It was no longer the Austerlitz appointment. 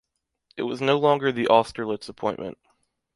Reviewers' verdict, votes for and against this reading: accepted, 2, 0